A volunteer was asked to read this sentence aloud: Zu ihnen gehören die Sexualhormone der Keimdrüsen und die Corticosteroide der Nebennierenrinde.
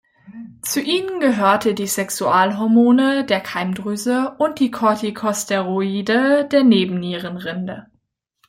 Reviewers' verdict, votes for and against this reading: rejected, 0, 2